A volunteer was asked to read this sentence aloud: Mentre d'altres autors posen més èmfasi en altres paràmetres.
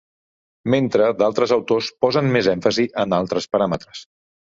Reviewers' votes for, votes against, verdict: 3, 1, accepted